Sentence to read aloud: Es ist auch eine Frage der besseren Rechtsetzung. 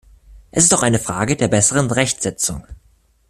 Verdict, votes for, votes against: accepted, 2, 0